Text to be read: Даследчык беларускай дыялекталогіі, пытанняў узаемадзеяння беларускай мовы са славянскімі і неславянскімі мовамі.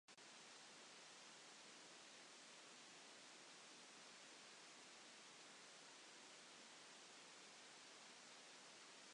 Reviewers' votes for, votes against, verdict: 0, 2, rejected